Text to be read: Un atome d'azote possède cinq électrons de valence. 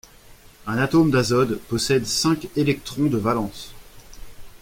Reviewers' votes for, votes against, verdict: 1, 2, rejected